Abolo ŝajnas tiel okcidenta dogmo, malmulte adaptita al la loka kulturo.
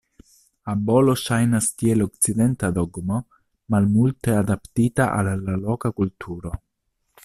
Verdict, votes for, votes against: rejected, 1, 2